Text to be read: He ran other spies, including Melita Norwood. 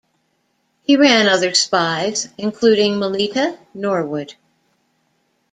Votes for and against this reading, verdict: 2, 0, accepted